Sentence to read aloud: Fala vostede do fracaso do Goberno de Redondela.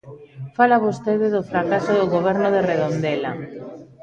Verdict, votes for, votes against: rejected, 1, 2